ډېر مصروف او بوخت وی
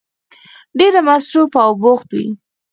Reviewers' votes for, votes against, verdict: 0, 4, rejected